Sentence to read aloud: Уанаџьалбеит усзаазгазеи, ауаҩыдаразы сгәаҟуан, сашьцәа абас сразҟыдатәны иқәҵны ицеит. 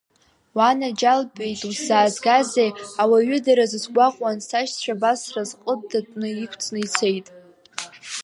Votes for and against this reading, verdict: 3, 2, accepted